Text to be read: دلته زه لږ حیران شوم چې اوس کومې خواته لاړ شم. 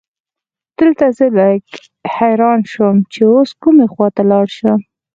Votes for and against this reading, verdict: 2, 4, rejected